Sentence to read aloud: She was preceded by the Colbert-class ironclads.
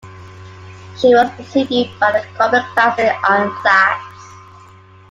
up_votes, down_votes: 2, 1